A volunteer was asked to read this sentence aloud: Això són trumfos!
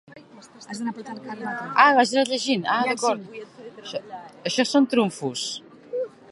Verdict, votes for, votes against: rejected, 0, 2